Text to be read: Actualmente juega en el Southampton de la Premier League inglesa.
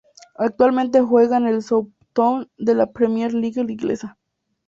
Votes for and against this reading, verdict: 0, 2, rejected